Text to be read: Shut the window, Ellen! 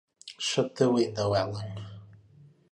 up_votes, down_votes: 2, 0